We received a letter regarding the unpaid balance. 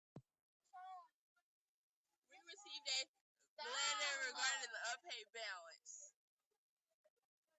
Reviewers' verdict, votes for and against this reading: rejected, 0, 2